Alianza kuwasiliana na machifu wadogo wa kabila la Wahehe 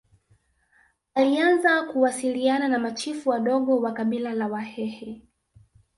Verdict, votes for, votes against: rejected, 1, 2